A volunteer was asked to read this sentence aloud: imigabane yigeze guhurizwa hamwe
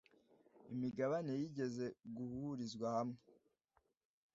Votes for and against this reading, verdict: 2, 0, accepted